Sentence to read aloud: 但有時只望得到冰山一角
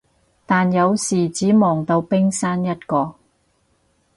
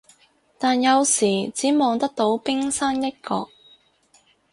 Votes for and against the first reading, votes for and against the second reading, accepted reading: 2, 4, 6, 0, second